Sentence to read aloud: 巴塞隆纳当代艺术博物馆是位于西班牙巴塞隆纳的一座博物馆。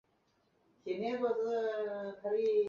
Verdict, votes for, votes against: rejected, 0, 2